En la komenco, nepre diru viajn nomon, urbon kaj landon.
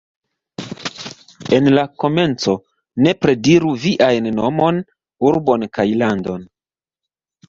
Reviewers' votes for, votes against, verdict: 2, 0, accepted